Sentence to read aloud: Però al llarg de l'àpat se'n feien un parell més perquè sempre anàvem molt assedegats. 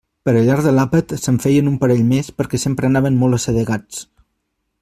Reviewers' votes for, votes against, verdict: 1, 2, rejected